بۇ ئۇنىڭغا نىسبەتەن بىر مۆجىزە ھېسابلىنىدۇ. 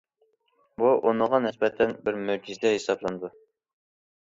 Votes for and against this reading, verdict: 1, 2, rejected